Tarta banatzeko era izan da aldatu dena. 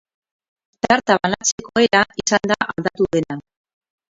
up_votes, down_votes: 2, 4